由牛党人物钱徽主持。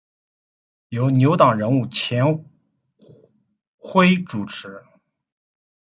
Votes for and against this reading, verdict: 2, 1, accepted